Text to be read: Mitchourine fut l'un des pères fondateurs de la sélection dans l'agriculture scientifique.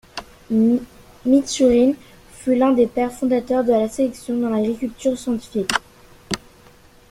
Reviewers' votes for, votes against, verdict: 2, 1, accepted